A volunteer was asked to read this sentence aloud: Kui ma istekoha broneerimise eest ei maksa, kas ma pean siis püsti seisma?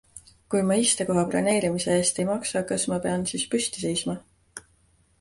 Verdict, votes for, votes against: accepted, 2, 0